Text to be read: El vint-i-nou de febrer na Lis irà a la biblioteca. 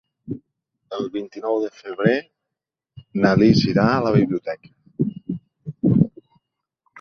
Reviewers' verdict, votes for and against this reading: accepted, 3, 1